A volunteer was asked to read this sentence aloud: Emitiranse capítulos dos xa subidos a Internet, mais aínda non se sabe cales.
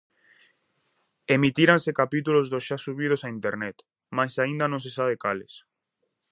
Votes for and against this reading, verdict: 4, 0, accepted